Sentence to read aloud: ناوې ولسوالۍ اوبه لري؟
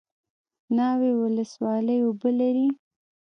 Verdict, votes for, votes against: rejected, 1, 2